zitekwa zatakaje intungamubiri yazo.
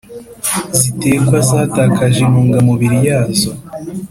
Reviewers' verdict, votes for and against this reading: accepted, 2, 0